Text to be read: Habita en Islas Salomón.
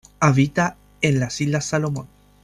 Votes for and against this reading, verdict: 0, 2, rejected